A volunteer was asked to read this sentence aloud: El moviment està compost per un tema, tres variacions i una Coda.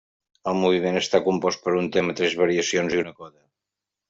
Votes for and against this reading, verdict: 0, 2, rejected